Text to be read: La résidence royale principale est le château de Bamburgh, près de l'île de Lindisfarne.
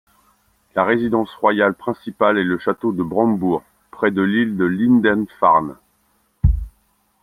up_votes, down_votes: 1, 2